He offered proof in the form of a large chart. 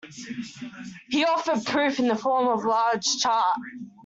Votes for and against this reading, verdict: 1, 2, rejected